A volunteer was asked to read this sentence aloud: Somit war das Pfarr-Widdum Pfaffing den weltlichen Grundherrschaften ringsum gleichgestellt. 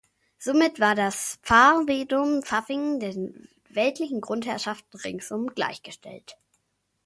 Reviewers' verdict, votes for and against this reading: rejected, 1, 2